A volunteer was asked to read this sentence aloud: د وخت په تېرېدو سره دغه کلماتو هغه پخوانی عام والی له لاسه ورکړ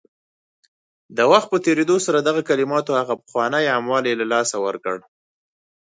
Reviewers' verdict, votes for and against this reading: accepted, 4, 0